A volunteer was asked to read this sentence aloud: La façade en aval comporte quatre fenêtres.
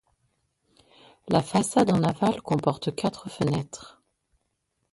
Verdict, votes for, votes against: rejected, 0, 2